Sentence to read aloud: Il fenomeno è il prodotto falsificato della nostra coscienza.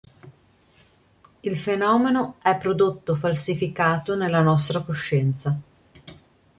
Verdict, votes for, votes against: rejected, 0, 2